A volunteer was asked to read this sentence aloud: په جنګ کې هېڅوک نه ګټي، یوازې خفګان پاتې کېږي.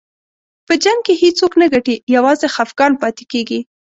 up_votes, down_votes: 2, 0